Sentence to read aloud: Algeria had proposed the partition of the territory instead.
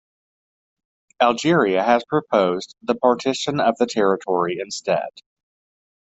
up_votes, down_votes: 2, 0